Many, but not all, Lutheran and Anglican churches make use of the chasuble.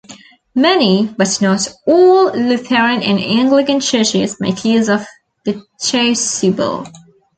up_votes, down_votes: 2, 1